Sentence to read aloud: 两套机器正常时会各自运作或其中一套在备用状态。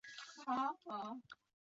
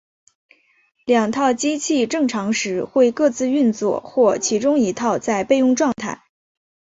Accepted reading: second